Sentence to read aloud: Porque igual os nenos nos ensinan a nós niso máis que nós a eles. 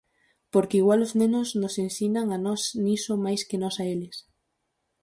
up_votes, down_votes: 4, 0